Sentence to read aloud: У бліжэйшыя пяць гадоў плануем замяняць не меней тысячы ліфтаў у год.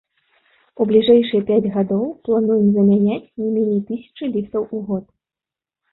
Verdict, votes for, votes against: accepted, 2, 0